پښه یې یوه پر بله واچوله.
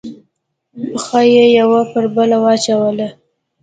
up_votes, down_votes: 3, 1